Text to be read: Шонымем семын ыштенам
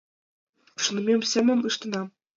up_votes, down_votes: 0, 2